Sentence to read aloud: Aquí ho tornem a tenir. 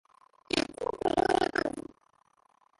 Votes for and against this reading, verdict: 0, 2, rejected